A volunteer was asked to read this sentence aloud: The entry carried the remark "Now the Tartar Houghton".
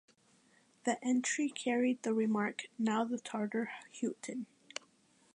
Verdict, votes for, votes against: accepted, 2, 0